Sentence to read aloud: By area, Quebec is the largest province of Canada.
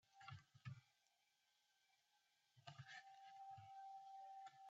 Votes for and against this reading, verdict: 0, 2, rejected